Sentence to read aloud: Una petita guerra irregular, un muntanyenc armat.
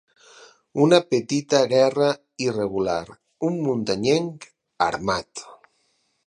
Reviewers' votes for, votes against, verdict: 6, 0, accepted